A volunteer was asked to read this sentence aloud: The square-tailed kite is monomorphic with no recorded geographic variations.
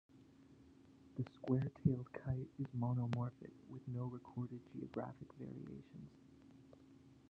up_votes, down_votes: 0, 2